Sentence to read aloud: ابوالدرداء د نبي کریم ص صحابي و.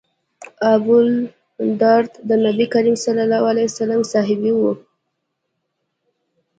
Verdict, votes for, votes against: accepted, 2, 1